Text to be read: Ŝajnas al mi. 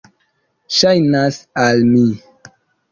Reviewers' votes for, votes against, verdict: 2, 0, accepted